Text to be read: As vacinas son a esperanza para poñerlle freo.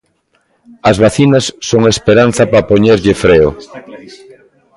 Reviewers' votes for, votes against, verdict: 1, 2, rejected